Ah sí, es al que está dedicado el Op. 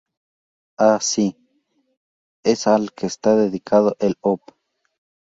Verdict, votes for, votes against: rejected, 0, 2